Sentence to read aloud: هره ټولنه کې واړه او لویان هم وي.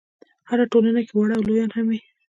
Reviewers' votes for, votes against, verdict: 2, 1, accepted